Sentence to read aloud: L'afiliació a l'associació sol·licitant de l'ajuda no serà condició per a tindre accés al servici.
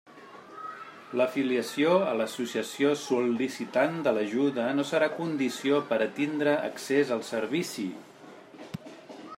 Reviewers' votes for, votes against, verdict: 1, 2, rejected